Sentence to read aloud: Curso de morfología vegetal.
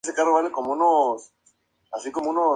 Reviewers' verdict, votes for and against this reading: rejected, 0, 2